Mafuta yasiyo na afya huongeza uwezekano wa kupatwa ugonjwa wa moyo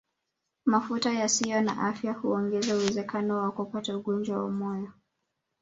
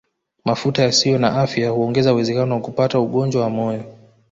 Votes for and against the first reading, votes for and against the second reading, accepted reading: 0, 2, 2, 0, second